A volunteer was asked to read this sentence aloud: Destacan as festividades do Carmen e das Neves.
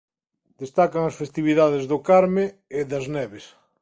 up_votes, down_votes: 4, 0